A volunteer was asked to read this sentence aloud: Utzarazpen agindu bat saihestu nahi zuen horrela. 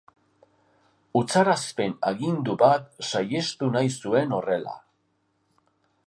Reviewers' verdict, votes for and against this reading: accepted, 2, 0